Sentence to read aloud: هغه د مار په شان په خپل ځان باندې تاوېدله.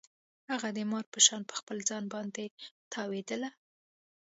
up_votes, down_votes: 2, 0